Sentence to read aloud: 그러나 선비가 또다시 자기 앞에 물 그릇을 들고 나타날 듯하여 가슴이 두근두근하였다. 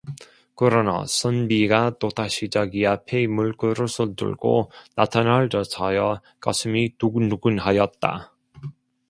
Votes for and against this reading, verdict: 0, 2, rejected